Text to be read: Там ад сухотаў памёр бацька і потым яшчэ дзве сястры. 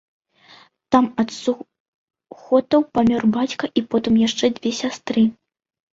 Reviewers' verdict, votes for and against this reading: rejected, 1, 2